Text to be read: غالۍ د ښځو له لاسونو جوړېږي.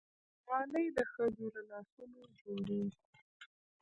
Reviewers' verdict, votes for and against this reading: rejected, 0, 2